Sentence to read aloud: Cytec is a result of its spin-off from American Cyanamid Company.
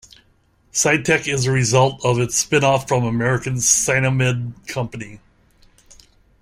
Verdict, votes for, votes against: rejected, 0, 2